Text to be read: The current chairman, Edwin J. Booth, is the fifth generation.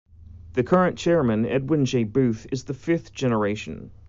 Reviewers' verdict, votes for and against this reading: accepted, 2, 0